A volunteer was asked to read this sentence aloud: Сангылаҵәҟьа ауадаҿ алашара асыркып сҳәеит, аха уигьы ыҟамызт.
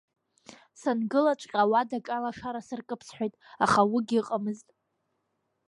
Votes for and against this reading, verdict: 0, 2, rejected